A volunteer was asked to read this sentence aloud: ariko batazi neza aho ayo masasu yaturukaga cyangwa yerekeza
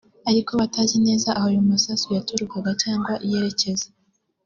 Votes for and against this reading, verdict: 3, 0, accepted